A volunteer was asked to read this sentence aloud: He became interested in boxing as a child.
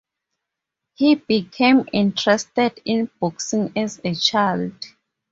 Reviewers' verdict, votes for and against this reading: accepted, 4, 0